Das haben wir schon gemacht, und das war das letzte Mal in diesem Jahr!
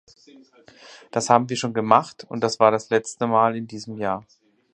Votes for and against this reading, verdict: 4, 0, accepted